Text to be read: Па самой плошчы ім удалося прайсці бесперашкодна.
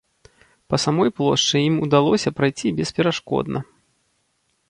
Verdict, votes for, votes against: rejected, 0, 2